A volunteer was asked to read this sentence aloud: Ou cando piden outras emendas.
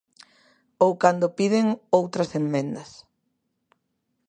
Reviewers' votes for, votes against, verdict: 1, 2, rejected